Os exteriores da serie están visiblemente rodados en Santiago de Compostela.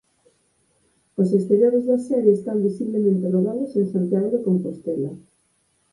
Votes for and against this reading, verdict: 2, 6, rejected